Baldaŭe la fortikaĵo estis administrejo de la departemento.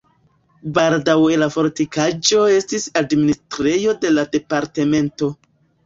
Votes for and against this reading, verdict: 0, 2, rejected